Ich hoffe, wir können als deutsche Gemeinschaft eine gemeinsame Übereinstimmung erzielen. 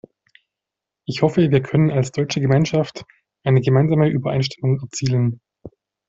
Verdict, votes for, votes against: accepted, 2, 0